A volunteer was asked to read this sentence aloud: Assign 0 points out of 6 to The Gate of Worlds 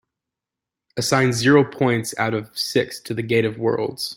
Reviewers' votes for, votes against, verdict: 0, 2, rejected